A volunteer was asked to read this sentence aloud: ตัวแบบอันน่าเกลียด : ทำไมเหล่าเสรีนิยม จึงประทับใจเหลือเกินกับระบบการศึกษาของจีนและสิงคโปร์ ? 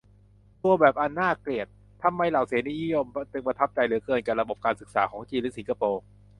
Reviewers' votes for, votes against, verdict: 0, 2, rejected